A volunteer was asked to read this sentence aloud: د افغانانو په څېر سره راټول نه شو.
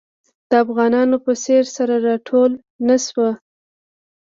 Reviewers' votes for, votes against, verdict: 2, 0, accepted